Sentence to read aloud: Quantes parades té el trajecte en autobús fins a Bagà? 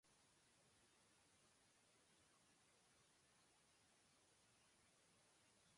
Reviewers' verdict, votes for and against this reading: rejected, 0, 2